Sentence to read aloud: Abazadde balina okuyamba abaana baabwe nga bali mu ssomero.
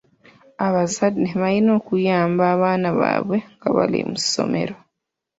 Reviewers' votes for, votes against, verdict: 2, 0, accepted